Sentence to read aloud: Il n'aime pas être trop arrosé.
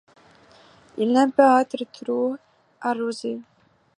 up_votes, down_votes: 1, 2